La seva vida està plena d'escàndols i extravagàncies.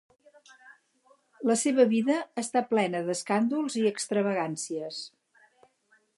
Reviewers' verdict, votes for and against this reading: accepted, 4, 0